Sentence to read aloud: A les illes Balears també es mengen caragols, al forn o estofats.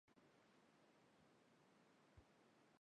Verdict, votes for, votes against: rejected, 0, 2